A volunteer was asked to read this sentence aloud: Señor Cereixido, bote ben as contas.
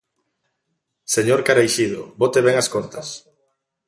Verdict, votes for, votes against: rejected, 0, 2